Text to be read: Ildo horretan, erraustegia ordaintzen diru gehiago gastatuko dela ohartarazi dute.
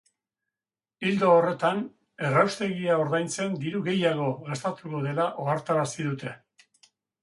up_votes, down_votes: 4, 0